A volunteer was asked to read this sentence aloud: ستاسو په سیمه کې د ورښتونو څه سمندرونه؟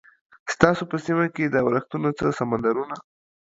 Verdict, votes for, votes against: accepted, 6, 1